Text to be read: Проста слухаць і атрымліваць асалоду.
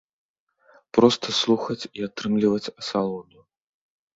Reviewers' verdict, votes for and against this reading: accepted, 3, 1